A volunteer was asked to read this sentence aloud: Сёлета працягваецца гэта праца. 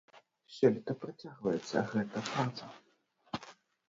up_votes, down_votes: 0, 2